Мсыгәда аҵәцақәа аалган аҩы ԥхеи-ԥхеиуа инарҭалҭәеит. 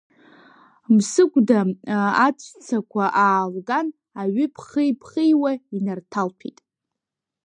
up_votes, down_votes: 2, 1